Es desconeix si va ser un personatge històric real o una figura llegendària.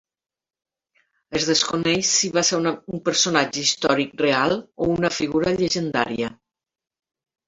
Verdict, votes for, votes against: rejected, 1, 2